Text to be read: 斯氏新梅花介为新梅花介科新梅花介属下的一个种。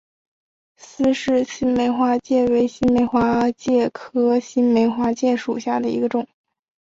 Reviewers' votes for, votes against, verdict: 2, 1, accepted